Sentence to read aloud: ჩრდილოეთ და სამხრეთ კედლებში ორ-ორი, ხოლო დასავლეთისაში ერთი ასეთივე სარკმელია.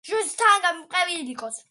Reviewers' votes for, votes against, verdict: 0, 2, rejected